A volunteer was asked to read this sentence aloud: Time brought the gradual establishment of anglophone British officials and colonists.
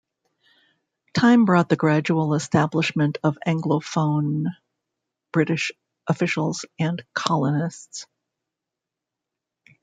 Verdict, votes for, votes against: rejected, 1, 2